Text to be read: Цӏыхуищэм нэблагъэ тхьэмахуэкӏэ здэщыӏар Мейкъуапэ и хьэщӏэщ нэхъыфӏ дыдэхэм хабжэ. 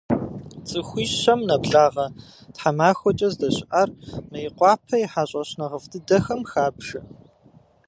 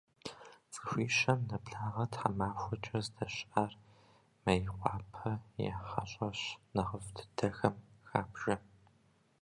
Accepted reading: first